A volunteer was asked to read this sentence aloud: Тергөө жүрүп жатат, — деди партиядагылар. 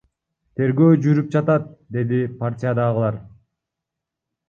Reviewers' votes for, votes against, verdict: 1, 2, rejected